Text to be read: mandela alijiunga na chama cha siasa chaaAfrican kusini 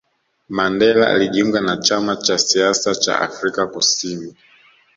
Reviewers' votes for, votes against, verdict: 2, 1, accepted